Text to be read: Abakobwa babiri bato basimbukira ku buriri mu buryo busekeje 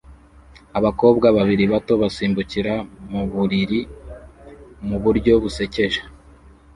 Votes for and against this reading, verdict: 1, 2, rejected